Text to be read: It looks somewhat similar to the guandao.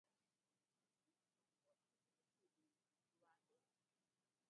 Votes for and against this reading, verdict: 0, 4, rejected